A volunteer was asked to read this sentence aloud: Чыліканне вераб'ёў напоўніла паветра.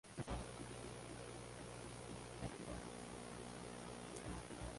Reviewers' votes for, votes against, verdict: 1, 2, rejected